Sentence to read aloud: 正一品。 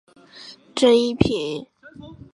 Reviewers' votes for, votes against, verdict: 4, 0, accepted